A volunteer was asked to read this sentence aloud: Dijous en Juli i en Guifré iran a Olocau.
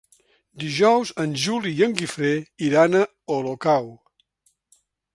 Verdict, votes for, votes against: accepted, 3, 0